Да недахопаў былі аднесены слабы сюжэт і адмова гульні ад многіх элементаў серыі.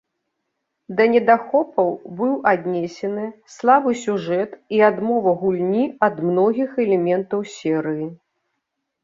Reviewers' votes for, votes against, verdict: 0, 2, rejected